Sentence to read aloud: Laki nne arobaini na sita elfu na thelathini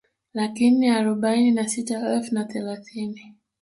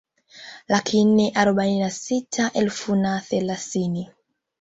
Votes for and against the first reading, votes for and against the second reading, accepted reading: 2, 1, 0, 2, first